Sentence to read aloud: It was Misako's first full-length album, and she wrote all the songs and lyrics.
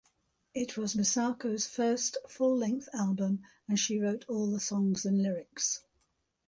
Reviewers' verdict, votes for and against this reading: accepted, 3, 0